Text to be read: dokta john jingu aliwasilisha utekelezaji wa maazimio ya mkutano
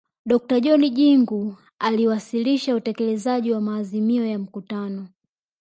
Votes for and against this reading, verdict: 2, 0, accepted